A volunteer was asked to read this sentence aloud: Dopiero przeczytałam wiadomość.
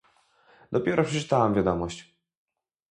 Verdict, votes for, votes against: rejected, 0, 2